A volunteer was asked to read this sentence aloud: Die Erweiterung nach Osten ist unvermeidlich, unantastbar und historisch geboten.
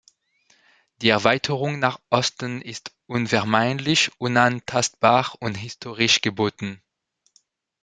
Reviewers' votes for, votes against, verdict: 2, 0, accepted